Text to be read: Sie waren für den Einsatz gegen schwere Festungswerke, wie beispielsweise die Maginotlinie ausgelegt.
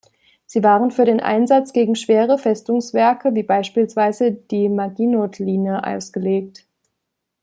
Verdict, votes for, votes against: accepted, 2, 0